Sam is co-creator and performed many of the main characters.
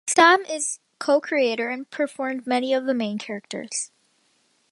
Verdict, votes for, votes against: accepted, 2, 1